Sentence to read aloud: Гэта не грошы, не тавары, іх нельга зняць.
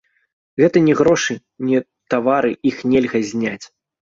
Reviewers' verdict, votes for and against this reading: rejected, 0, 2